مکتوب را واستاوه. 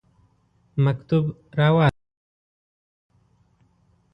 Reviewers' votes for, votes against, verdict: 1, 2, rejected